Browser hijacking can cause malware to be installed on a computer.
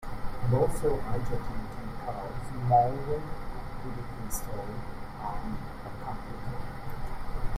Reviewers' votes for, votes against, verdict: 1, 2, rejected